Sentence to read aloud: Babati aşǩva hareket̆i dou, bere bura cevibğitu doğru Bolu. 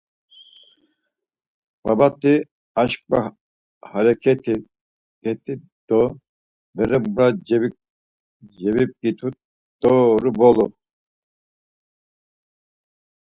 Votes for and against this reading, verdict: 0, 4, rejected